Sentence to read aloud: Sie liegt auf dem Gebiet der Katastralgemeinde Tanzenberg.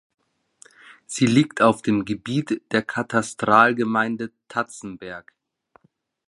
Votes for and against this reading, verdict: 0, 2, rejected